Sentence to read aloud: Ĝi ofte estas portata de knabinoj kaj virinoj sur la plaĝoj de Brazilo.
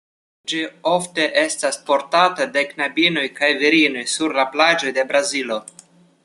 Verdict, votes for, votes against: accepted, 2, 0